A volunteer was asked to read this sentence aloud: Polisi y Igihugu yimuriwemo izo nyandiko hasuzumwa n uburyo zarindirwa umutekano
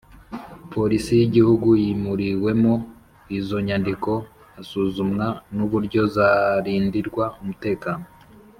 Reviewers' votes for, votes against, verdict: 2, 0, accepted